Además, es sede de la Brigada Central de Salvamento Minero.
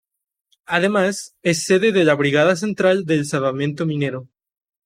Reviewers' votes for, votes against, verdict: 0, 2, rejected